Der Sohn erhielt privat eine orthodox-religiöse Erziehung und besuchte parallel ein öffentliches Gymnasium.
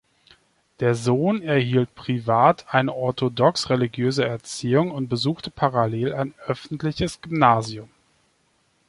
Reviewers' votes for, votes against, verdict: 3, 0, accepted